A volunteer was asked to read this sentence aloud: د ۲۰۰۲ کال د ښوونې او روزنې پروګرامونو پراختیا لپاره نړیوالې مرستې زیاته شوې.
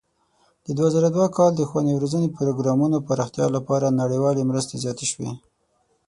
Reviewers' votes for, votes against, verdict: 0, 2, rejected